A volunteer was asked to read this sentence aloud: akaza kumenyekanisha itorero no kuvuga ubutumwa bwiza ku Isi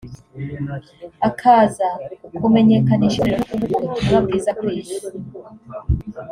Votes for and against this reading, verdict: 1, 2, rejected